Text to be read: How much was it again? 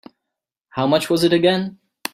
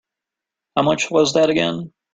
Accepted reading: first